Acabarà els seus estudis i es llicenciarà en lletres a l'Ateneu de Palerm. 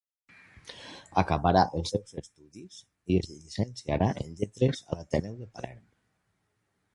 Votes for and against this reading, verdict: 0, 2, rejected